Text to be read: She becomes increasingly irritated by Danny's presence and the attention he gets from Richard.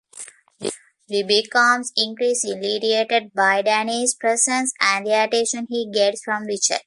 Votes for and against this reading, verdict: 2, 0, accepted